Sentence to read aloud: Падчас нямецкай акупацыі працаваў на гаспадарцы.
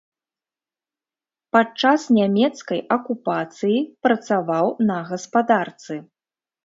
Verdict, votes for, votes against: accepted, 3, 0